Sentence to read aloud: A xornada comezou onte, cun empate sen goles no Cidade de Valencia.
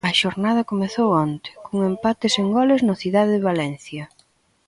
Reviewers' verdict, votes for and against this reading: rejected, 1, 2